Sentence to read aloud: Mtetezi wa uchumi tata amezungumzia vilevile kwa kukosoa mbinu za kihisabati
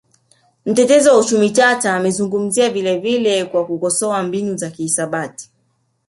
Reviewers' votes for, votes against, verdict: 2, 0, accepted